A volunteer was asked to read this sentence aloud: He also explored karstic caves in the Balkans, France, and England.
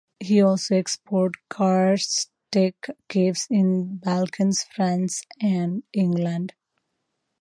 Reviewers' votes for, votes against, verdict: 1, 2, rejected